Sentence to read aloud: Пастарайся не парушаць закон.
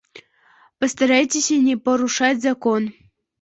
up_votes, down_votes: 0, 2